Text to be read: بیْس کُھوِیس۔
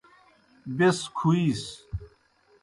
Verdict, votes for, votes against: accepted, 2, 0